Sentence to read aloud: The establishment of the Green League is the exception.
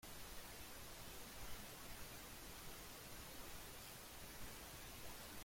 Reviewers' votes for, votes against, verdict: 0, 2, rejected